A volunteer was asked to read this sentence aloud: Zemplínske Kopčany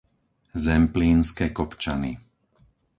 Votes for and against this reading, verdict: 4, 0, accepted